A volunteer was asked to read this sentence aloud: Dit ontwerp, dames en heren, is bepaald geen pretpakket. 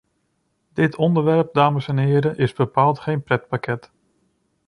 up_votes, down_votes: 1, 2